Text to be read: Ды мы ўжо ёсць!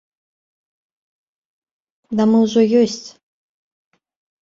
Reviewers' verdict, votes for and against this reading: rejected, 1, 2